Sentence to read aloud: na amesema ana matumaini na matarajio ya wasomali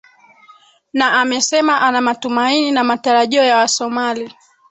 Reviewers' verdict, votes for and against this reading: rejected, 3, 4